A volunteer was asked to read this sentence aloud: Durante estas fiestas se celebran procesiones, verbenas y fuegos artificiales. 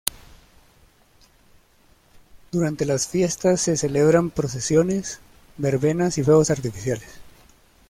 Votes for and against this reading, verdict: 0, 2, rejected